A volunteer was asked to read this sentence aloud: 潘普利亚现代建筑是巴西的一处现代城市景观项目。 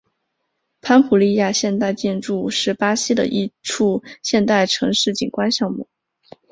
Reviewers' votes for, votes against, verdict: 3, 0, accepted